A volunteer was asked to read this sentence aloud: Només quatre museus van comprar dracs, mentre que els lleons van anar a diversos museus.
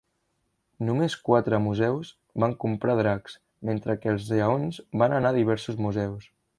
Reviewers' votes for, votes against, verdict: 2, 0, accepted